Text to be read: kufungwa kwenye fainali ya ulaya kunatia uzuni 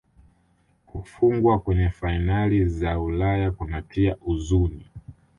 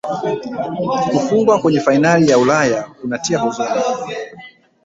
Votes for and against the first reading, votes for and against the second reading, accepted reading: 2, 1, 1, 2, first